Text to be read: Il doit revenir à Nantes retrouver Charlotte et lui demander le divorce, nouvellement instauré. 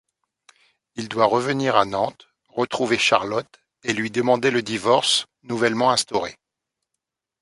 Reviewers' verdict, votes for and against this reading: accepted, 2, 0